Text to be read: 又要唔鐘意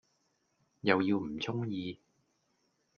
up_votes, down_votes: 2, 0